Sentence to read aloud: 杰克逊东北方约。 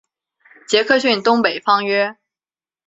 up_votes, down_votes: 3, 0